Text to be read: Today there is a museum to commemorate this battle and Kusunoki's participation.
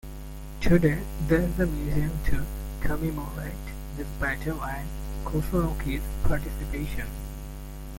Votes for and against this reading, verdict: 0, 2, rejected